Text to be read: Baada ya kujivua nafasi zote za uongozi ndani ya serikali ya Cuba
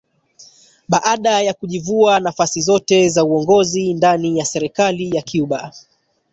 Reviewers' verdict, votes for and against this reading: rejected, 1, 2